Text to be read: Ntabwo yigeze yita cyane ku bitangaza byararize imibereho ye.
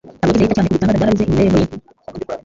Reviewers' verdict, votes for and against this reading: rejected, 0, 3